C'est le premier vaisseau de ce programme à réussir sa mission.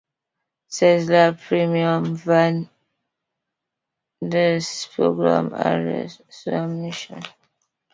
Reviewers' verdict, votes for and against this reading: rejected, 1, 2